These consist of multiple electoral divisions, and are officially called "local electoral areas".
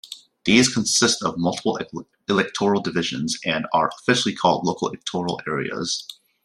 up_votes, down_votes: 1, 2